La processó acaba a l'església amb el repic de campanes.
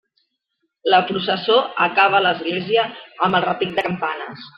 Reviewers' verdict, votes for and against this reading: accepted, 2, 0